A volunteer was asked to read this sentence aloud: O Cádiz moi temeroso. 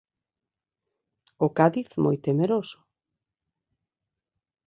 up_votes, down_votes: 2, 0